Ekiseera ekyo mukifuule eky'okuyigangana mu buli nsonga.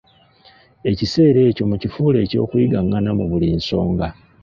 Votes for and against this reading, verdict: 2, 1, accepted